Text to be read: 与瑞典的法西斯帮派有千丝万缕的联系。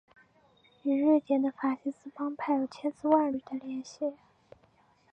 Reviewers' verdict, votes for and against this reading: accepted, 5, 0